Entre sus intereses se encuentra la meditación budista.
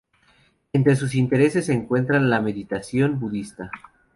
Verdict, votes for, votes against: rejected, 0, 2